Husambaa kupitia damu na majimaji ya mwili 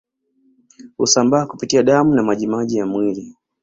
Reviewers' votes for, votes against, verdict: 2, 0, accepted